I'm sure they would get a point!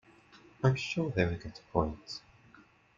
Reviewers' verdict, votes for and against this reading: accepted, 2, 0